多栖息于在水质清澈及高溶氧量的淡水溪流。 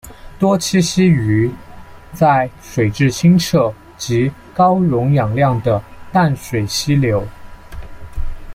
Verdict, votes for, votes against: accepted, 2, 0